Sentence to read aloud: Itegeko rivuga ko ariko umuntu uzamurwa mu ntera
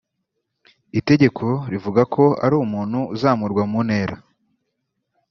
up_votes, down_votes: 1, 2